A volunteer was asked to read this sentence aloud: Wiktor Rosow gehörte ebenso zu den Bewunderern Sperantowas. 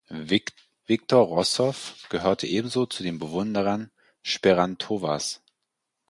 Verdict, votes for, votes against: rejected, 0, 4